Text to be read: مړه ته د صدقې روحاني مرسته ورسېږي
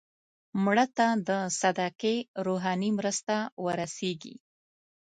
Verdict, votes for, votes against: accepted, 2, 0